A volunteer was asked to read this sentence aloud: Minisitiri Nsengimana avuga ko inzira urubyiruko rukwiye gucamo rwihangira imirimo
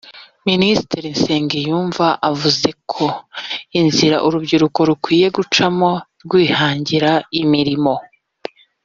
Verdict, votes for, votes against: rejected, 0, 2